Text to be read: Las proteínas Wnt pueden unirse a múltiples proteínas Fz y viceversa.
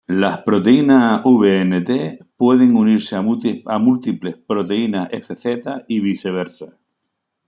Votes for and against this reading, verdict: 0, 2, rejected